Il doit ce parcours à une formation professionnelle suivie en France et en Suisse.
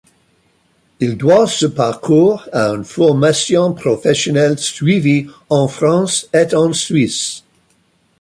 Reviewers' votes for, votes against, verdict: 0, 2, rejected